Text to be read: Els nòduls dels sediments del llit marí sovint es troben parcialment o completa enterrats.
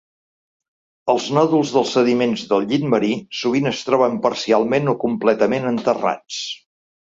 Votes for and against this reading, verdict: 0, 3, rejected